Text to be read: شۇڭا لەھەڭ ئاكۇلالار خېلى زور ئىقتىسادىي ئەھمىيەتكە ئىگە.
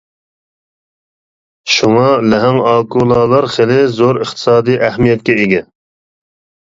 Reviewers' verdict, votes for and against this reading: accepted, 2, 0